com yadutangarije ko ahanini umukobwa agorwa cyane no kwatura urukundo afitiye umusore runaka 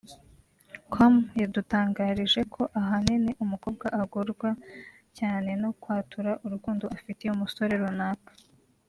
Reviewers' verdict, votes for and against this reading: accepted, 2, 0